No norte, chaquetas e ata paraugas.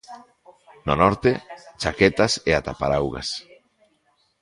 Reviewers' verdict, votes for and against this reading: rejected, 1, 2